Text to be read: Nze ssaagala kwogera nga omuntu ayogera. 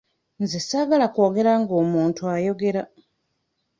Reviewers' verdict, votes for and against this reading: accepted, 2, 0